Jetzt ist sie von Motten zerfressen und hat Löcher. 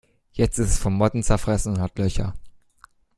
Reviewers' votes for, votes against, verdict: 0, 2, rejected